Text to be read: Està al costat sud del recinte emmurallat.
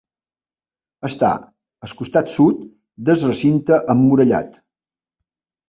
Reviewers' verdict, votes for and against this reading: rejected, 1, 2